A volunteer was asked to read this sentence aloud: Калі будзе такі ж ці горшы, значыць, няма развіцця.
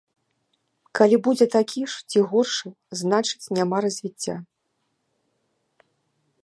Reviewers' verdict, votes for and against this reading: accepted, 2, 0